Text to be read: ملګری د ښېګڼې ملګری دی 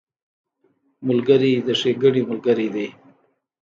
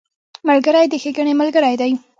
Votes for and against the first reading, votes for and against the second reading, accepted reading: 1, 2, 2, 0, second